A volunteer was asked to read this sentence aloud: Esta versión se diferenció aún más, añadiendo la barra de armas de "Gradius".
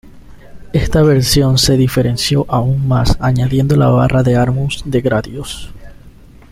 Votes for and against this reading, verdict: 0, 2, rejected